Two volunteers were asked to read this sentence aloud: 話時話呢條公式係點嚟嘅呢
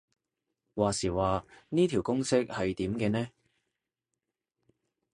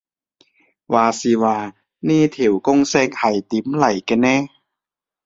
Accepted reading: second